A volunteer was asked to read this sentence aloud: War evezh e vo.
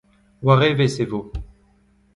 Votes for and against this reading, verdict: 2, 1, accepted